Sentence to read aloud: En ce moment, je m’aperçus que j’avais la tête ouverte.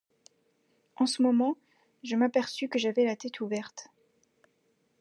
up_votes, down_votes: 2, 1